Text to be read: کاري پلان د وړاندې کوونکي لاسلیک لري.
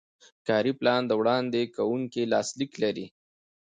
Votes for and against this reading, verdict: 2, 0, accepted